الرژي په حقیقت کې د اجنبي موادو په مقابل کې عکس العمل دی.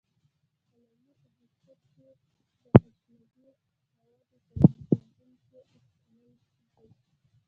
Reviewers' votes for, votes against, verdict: 1, 2, rejected